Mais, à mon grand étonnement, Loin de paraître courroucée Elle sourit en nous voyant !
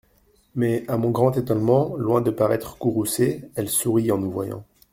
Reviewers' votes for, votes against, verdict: 2, 0, accepted